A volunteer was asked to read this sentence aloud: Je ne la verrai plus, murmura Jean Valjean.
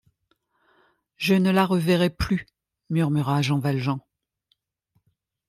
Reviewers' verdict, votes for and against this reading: rejected, 1, 2